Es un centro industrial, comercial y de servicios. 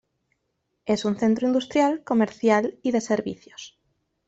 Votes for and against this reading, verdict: 2, 0, accepted